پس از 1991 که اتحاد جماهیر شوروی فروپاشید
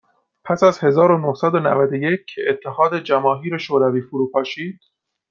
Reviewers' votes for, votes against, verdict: 0, 2, rejected